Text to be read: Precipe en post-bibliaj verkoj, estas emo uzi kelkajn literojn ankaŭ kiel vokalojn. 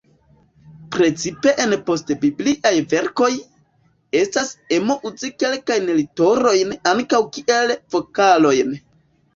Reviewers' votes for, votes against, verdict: 2, 1, accepted